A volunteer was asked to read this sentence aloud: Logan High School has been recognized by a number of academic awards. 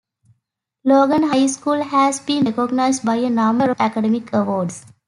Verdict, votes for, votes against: rejected, 1, 2